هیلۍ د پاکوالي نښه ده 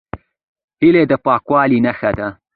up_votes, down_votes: 2, 1